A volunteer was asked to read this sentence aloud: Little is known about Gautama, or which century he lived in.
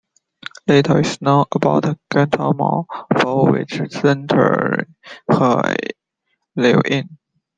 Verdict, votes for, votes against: rejected, 0, 2